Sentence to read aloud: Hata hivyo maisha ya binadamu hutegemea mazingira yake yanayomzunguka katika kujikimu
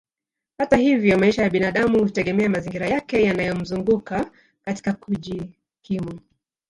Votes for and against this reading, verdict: 1, 2, rejected